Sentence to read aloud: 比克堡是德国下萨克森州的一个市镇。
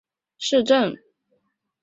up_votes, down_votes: 0, 2